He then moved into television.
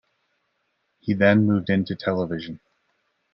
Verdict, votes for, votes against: accepted, 2, 1